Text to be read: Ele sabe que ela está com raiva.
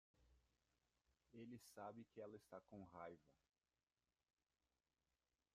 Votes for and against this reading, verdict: 0, 2, rejected